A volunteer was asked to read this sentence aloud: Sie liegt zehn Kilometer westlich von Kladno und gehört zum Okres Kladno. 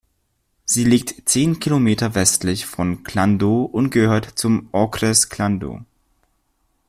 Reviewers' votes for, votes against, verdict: 1, 2, rejected